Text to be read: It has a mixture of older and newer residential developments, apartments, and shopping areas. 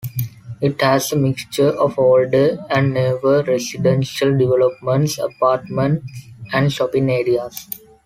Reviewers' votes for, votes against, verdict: 2, 0, accepted